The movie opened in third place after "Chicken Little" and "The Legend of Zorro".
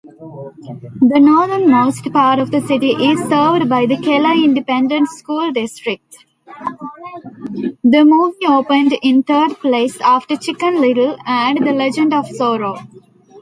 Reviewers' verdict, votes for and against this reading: rejected, 0, 2